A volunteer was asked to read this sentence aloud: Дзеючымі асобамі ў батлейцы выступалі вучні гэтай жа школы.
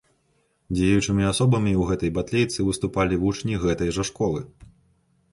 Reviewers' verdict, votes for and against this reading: rejected, 1, 2